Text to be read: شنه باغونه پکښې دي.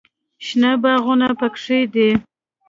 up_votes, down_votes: 0, 2